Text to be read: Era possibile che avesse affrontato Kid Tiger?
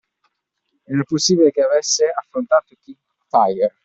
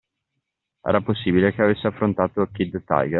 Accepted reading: second